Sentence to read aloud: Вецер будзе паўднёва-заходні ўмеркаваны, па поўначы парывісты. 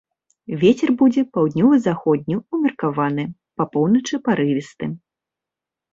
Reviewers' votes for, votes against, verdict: 2, 0, accepted